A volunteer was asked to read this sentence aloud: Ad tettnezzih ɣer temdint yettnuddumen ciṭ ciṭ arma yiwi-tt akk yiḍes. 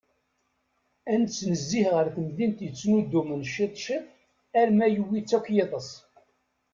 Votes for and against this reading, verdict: 1, 2, rejected